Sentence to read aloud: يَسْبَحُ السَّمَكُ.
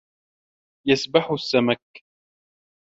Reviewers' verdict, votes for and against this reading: accepted, 2, 0